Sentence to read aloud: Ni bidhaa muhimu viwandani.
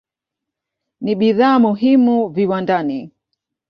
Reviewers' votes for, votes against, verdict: 2, 0, accepted